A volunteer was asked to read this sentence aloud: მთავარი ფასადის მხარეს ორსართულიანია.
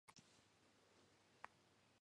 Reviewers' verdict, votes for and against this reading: rejected, 1, 2